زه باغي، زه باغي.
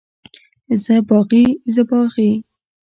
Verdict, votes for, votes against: rejected, 1, 2